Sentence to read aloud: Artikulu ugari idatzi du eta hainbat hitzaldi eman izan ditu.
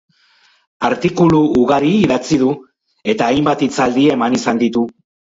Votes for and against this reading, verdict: 4, 0, accepted